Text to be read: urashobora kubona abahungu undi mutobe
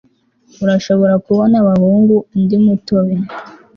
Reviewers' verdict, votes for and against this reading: accepted, 2, 0